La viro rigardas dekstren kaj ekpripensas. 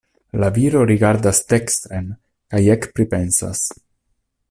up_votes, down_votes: 2, 0